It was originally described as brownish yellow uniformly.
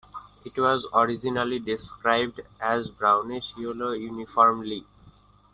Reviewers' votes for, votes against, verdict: 2, 1, accepted